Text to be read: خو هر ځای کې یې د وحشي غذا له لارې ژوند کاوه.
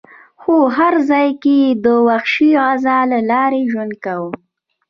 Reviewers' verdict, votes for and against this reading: rejected, 1, 2